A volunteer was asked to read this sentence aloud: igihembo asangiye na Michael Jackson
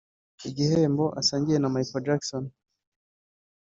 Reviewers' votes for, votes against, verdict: 2, 0, accepted